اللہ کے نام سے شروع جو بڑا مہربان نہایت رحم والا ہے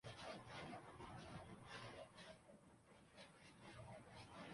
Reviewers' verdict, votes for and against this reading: rejected, 1, 3